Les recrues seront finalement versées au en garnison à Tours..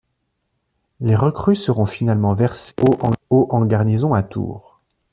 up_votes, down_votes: 1, 3